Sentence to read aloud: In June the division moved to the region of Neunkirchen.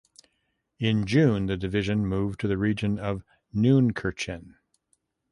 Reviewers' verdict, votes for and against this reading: accepted, 2, 0